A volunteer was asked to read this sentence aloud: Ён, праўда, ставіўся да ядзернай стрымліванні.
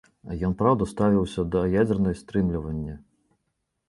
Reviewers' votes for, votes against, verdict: 2, 0, accepted